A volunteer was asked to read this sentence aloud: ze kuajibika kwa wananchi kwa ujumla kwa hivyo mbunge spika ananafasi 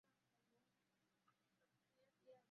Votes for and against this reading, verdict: 0, 2, rejected